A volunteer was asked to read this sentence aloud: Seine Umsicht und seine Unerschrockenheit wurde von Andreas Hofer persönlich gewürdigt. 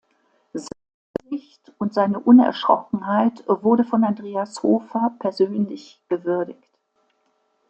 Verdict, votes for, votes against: rejected, 0, 2